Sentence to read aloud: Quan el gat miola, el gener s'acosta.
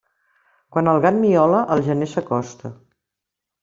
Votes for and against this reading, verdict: 3, 0, accepted